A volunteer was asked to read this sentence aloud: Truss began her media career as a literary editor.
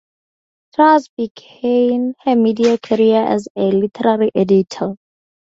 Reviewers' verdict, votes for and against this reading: rejected, 0, 2